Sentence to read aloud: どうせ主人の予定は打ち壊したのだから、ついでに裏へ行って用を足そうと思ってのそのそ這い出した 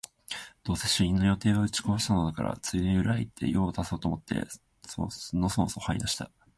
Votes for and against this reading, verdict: 1, 2, rejected